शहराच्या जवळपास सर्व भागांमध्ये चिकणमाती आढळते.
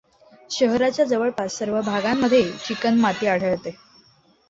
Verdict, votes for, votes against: accepted, 2, 0